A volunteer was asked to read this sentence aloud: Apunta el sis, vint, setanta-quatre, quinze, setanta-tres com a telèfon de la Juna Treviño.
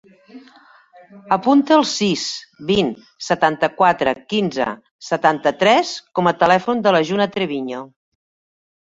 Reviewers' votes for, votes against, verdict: 2, 0, accepted